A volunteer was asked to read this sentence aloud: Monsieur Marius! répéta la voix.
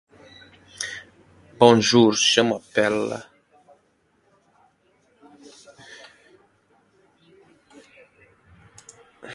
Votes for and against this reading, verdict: 0, 2, rejected